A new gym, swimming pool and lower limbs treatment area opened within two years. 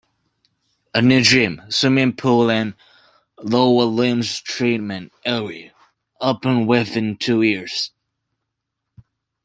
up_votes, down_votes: 2, 0